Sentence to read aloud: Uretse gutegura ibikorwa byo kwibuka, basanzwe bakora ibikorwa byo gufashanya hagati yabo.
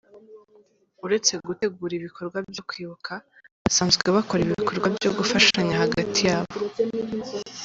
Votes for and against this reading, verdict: 2, 0, accepted